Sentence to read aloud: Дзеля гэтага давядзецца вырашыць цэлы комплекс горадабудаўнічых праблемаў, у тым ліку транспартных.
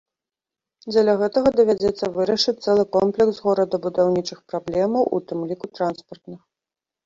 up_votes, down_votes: 2, 0